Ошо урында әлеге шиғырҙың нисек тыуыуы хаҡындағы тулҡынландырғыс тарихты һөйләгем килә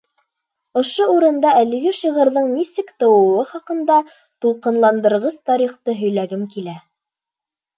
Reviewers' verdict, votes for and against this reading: rejected, 1, 2